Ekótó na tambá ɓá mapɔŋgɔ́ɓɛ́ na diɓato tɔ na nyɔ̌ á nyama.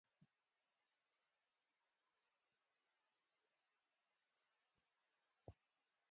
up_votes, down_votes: 0, 2